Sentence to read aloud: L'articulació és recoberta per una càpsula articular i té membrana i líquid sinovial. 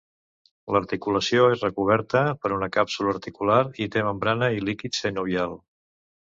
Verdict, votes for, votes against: rejected, 1, 2